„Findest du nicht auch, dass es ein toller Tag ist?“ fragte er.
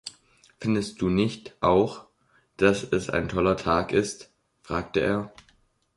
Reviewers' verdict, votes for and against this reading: accepted, 2, 0